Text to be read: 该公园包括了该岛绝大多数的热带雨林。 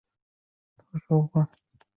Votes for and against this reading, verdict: 0, 3, rejected